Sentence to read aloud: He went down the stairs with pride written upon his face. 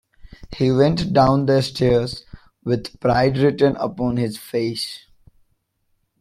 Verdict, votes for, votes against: accepted, 2, 0